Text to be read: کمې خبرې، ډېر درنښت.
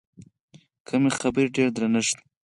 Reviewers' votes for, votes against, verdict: 4, 2, accepted